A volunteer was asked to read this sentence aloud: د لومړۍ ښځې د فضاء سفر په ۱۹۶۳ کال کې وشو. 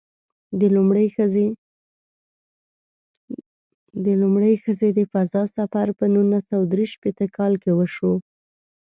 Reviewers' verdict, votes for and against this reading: rejected, 0, 2